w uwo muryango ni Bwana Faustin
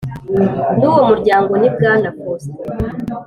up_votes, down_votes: 3, 0